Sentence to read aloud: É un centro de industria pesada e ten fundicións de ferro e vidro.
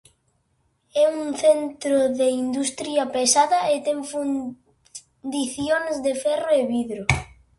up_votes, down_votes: 0, 2